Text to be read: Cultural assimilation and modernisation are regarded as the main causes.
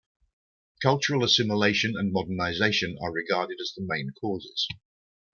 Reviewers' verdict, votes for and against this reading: rejected, 0, 2